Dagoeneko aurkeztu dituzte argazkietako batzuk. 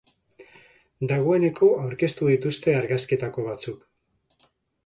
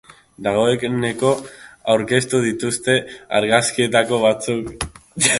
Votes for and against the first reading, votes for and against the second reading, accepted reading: 2, 0, 0, 2, first